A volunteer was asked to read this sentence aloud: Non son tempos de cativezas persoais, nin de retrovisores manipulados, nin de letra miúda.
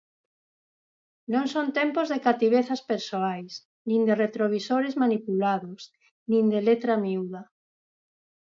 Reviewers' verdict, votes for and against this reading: accepted, 4, 0